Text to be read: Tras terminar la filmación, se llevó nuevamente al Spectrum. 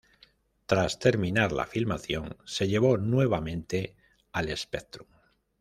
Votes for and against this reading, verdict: 2, 0, accepted